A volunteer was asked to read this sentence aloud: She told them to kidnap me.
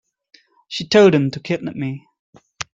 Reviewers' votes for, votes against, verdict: 2, 0, accepted